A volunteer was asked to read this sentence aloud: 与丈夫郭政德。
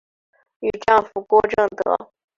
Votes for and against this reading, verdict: 5, 1, accepted